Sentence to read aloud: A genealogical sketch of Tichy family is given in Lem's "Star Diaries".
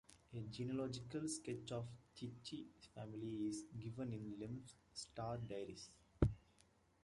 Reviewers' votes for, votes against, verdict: 2, 1, accepted